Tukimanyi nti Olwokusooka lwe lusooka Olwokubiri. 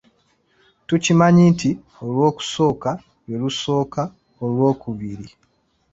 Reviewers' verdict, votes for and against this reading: accepted, 2, 0